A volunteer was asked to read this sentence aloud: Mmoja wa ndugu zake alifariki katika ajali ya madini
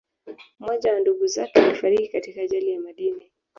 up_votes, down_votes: 1, 2